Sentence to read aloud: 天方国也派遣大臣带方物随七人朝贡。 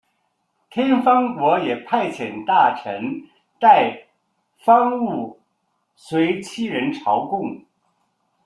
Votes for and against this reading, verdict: 2, 0, accepted